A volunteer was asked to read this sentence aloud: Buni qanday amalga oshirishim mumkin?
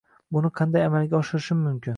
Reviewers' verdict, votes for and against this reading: accepted, 2, 0